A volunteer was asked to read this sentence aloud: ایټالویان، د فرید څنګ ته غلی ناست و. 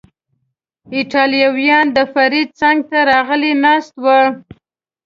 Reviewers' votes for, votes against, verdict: 1, 2, rejected